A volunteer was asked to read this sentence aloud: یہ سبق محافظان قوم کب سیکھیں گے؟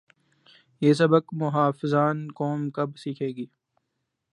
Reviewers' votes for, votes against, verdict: 0, 2, rejected